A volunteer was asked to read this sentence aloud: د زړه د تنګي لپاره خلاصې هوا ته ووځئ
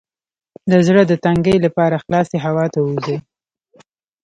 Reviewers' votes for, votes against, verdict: 0, 2, rejected